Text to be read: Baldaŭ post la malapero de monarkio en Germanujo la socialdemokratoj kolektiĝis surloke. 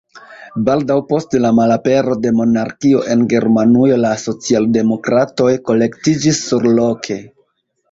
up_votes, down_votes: 2, 1